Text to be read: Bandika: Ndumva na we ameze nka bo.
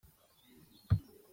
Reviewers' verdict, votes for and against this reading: rejected, 0, 2